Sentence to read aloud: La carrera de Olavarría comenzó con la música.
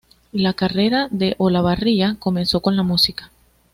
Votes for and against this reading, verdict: 2, 0, accepted